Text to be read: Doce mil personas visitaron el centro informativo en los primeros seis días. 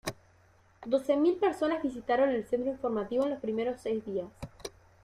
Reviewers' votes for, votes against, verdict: 2, 0, accepted